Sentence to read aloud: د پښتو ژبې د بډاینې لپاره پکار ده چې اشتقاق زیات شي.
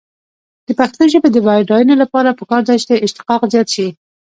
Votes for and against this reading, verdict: 2, 1, accepted